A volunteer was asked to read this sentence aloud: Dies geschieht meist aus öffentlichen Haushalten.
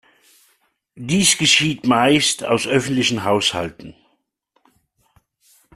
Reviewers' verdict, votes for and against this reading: accepted, 2, 0